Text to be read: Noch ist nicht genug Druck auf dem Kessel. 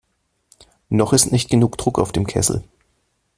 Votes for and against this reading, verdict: 2, 0, accepted